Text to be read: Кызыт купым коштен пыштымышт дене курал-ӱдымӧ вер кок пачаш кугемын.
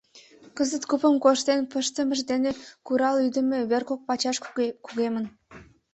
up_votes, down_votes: 1, 2